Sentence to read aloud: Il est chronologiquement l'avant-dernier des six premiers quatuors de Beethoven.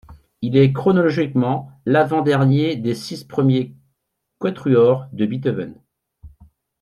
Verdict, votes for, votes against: rejected, 1, 2